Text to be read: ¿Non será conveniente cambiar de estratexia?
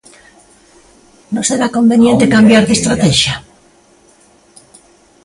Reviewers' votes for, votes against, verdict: 0, 2, rejected